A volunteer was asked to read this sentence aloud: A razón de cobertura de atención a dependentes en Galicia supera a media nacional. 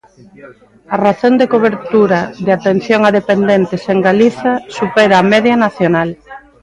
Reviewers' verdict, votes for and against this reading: rejected, 1, 2